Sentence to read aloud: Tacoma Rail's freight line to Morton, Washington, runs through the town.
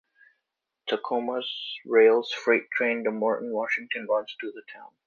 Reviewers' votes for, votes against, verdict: 1, 2, rejected